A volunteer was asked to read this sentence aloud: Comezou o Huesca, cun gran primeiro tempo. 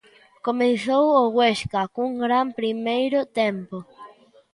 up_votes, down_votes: 1, 2